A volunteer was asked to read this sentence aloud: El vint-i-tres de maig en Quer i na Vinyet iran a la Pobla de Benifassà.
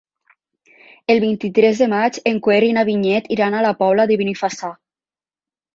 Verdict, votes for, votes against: accepted, 3, 0